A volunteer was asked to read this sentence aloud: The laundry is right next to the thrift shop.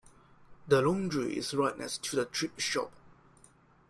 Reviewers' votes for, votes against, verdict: 1, 2, rejected